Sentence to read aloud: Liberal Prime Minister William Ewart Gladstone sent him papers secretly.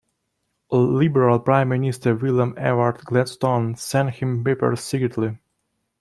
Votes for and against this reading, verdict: 1, 2, rejected